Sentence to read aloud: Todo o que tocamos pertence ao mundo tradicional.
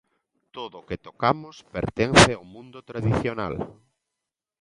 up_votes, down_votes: 2, 0